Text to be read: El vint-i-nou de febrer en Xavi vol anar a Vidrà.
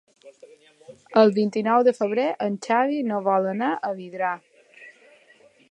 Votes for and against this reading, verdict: 1, 3, rejected